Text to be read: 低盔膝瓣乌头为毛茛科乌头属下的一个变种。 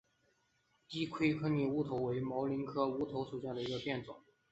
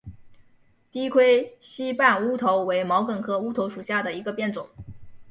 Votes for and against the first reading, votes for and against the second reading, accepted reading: 0, 2, 3, 0, second